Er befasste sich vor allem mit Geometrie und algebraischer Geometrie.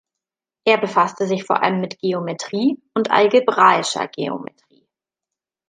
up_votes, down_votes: 1, 2